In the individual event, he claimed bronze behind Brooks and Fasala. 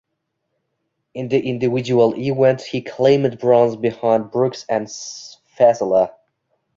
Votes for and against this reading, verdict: 1, 2, rejected